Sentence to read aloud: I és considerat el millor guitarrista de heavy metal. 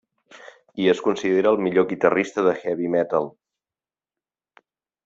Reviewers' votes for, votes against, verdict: 0, 2, rejected